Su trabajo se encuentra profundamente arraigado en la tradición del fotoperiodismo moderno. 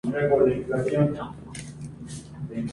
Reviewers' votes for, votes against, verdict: 0, 2, rejected